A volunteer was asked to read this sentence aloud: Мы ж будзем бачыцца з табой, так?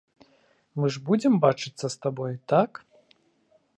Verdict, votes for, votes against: accepted, 2, 0